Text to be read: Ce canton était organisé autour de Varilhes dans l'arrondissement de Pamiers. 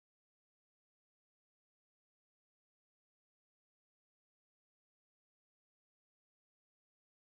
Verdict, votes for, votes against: rejected, 0, 2